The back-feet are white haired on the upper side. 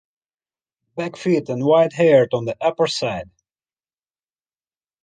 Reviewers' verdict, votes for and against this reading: rejected, 1, 2